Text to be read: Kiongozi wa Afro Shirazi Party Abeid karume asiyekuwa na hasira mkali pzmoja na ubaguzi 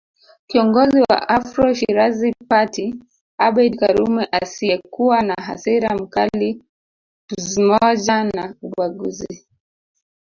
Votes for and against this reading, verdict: 1, 2, rejected